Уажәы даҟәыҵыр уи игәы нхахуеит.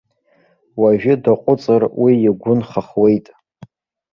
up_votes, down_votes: 1, 2